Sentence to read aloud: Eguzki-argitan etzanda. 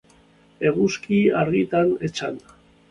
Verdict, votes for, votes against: accepted, 2, 1